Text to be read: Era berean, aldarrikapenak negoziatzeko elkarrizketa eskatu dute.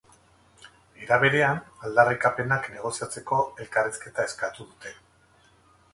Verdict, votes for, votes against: rejected, 0, 2